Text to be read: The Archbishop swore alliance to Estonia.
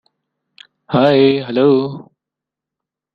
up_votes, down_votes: 0, 2